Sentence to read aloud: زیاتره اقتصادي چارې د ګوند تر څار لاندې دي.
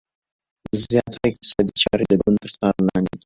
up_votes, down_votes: 2, 1